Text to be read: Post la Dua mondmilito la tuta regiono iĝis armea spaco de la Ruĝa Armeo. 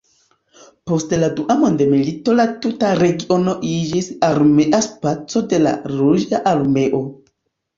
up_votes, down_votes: 2, 1